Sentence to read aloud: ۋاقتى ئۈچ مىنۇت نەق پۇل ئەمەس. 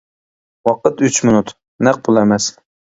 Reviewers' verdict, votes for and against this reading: rejected, 1, 2